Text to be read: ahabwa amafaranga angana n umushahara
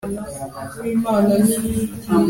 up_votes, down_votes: 2, 1